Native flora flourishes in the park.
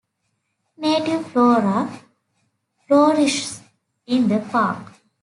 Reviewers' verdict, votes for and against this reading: rejected, 0, 2